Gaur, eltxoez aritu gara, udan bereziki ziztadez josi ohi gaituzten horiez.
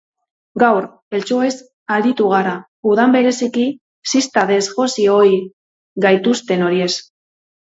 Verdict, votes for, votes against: rejected, 2, 2